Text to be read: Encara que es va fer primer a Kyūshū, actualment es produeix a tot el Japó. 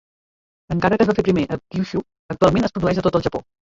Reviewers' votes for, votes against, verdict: 1, 3, rejected